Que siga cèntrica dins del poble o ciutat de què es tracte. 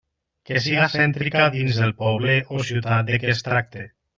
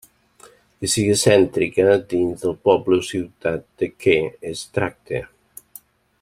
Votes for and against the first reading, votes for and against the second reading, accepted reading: 2, 1, 1, 2, first